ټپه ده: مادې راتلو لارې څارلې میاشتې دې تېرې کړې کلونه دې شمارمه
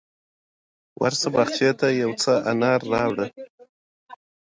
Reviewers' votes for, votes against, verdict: 2, 0, accepted